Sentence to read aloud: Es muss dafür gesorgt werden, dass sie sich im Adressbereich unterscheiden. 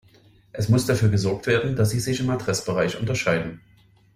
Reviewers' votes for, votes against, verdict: 2, 0, accepted